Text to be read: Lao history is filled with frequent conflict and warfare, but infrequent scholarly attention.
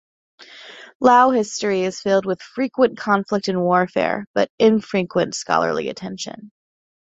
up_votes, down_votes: 2, 0